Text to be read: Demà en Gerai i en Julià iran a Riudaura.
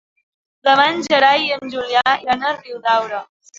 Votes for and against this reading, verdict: 0, 2, rejected